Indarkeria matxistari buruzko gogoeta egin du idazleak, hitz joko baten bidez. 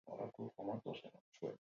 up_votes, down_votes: 0, 8